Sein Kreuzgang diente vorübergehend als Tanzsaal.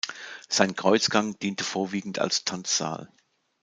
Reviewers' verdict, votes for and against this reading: rejected, 0, 2